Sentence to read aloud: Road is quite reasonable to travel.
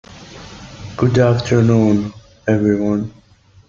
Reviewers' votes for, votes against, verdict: 0, 2, rejected